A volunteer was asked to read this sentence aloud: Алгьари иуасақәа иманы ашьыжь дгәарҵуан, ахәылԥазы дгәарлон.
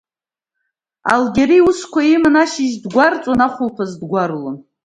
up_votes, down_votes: 2, 1